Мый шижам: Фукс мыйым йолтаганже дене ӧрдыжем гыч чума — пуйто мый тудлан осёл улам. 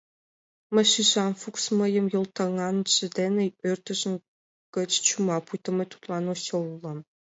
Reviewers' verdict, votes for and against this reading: accepted, 2, 1